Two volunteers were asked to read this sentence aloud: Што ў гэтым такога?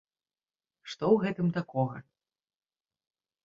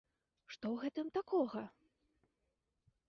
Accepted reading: first